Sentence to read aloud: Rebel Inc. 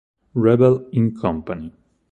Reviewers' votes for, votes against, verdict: 2, 6, rejected